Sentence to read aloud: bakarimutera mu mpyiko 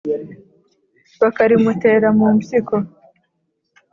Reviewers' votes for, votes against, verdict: 2, 0, accepted